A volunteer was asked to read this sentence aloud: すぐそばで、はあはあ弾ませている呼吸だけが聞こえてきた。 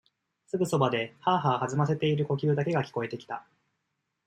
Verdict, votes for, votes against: accepted, 2, 0